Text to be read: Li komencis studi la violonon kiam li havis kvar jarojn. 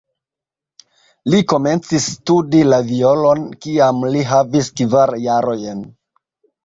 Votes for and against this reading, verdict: 0, 2, rejected